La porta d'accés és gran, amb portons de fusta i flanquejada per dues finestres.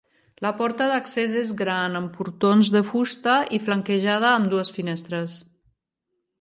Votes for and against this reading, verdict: 0, 3, rejected